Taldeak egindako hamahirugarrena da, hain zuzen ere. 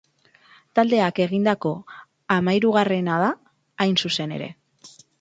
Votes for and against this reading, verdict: 4, 0, accepted